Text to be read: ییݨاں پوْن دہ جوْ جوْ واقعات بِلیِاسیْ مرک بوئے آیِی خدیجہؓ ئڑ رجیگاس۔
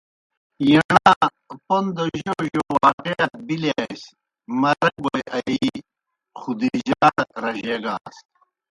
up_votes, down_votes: 0, 2